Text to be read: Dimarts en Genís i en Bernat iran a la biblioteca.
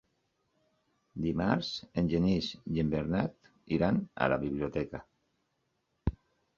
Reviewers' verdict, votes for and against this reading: accepted, 4, 0